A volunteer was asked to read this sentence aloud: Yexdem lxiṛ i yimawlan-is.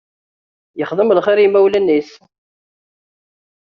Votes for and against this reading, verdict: 2, 0, accepted